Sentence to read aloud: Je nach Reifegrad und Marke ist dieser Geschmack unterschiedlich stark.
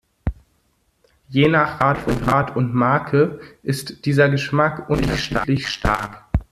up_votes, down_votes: 0, 2